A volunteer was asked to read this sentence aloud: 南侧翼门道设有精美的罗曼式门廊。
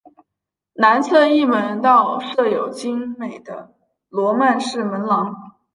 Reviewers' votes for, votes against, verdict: 3, 0, accepted